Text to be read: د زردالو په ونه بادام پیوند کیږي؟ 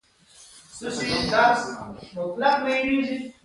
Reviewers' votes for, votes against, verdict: 2, 1, accepted